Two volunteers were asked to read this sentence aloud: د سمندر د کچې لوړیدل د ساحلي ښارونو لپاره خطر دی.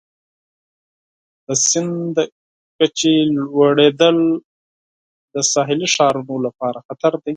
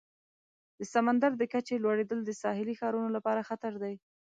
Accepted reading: second